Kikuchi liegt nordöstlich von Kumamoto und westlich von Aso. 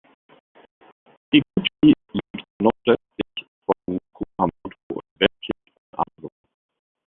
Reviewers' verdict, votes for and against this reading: rejected, 0, 2